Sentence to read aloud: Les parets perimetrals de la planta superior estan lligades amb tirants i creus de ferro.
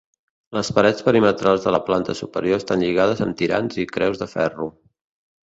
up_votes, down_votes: 2, 0